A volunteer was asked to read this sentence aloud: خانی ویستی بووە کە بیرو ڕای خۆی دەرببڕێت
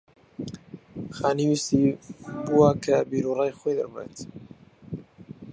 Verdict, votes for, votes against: rejected, 2, 4